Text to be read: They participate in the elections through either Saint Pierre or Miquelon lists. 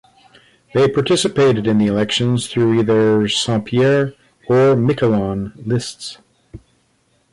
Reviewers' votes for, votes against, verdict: 1, 2, rejected